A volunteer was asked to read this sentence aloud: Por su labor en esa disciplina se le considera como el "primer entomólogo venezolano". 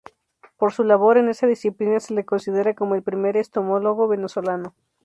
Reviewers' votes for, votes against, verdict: 0, 4, rejected